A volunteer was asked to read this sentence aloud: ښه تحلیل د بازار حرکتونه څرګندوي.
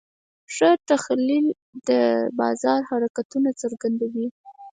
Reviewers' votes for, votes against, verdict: 2, 4, rejected